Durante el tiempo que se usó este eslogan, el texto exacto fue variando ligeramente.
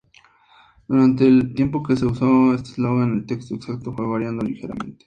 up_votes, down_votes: 2, 0